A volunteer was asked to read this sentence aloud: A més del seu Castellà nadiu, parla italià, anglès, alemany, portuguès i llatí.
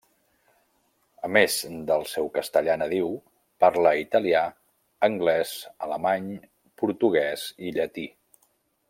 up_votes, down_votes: 2, 0